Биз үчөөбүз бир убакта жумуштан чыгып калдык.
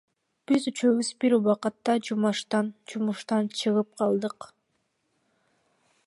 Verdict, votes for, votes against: rejected, 1, 2